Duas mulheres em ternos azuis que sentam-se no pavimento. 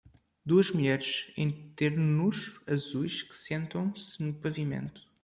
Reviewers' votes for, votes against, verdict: 1, 2, rejected